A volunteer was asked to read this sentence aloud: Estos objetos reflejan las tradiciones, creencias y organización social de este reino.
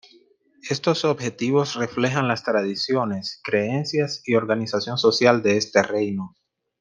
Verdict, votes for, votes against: rejected, 1, 2